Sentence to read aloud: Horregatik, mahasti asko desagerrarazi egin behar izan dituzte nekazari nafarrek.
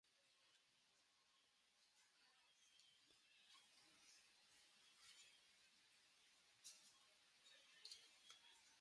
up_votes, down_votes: 0, 2